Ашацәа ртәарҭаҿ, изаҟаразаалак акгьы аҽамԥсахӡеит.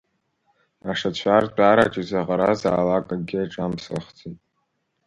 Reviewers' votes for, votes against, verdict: 1, 2, rejected